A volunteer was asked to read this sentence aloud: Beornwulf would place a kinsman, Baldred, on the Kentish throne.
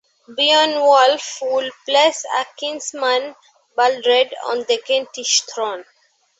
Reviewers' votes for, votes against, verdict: 0, 2, rejected